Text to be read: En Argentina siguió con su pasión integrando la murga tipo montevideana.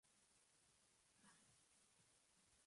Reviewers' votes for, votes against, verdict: 0, 2, rejected